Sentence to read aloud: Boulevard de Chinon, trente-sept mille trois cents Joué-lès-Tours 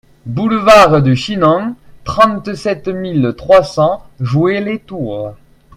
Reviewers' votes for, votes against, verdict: 2, 0, accepted